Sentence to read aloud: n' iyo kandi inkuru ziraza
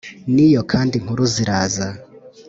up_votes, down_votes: 3, 0